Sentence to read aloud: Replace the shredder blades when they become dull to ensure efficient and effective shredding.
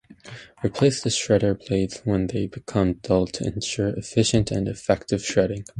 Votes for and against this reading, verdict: 0, 2, rejected